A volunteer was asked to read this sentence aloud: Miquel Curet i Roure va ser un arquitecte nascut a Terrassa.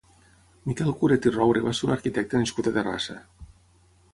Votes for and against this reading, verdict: 6, 0, accepted